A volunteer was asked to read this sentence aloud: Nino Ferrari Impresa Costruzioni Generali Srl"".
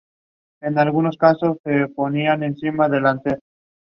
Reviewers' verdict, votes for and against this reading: rejected, 0, 2